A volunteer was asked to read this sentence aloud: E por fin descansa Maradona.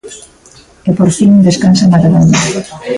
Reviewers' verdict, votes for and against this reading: accepted, 2, 1